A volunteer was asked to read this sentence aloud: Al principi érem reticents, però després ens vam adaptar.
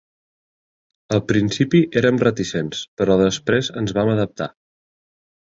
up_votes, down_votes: 3, 0